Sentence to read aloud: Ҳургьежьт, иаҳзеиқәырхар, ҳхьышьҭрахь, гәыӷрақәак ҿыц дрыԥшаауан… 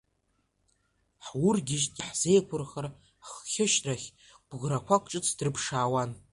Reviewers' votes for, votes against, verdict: 0, 2, rejected